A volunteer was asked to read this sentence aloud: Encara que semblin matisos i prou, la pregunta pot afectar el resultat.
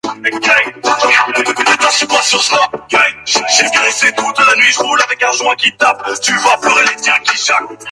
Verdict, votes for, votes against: rejected, 1, 2